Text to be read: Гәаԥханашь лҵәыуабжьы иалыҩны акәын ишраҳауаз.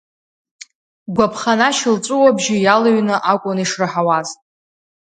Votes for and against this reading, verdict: 2, 0, accepted